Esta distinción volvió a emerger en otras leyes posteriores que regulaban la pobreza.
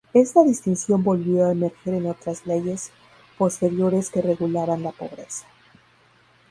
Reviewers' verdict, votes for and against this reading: rejected, 0, 2